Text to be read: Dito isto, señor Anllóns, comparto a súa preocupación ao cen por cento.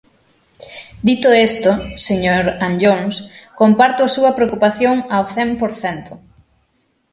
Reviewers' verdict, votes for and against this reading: rejected, 0, 6